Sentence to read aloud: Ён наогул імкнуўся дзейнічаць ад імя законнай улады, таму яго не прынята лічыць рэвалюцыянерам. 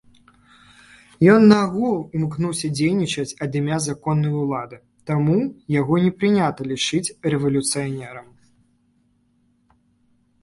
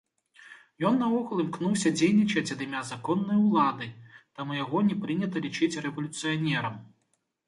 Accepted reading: second